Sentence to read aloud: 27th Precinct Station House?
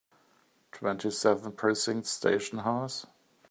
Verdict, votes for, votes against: rejected, 0, 2